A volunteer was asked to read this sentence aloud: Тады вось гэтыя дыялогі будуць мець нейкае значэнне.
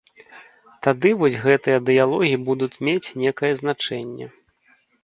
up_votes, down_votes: 1, 2